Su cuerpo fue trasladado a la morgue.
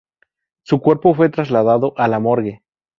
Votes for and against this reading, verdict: 2, 0, accepted